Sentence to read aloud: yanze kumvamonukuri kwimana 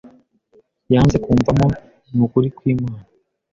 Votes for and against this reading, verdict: 2, 0, accepted